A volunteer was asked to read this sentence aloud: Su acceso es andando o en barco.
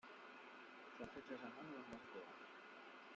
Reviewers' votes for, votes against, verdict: 0, 2, rejected